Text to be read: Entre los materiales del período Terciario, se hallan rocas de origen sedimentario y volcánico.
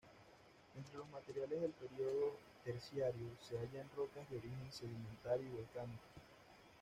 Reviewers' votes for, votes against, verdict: 1, 2, rejected